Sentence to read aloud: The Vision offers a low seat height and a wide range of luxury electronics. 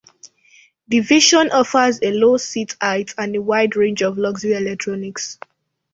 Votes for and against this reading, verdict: 2, 0, accepted